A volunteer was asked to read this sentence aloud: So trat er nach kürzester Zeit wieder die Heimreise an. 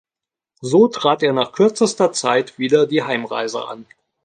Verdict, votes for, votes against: accepted, 2, 0